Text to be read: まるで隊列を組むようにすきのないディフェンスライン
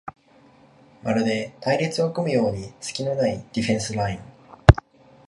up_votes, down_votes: 2, 0